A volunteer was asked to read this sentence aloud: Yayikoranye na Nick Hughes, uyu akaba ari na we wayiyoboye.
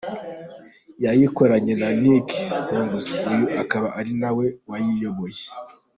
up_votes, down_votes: 2, 0